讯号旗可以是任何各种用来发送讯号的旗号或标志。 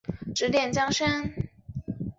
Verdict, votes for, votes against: rejected, 1, 3